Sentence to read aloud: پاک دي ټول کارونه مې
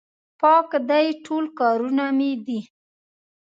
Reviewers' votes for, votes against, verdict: 1, 2, rejected